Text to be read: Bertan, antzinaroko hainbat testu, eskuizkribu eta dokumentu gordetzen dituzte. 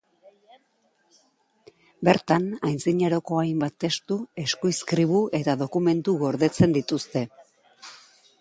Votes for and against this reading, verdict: 2, 0, accepted